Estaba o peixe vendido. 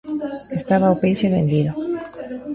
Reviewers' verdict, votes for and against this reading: rejected, 1, 2